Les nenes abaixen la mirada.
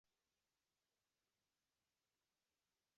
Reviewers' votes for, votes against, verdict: 0, 2, rejected